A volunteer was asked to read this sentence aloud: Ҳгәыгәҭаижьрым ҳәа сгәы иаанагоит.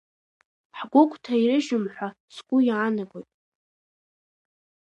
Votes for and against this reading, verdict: 0, 2, rejected